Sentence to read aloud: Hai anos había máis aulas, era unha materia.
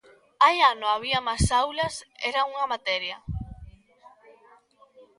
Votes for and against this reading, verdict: 0, 2, rejected